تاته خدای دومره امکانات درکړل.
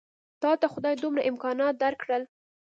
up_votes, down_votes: 2, 0